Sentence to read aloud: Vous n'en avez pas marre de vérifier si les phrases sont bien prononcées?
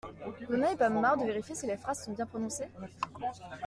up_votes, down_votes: 2, 0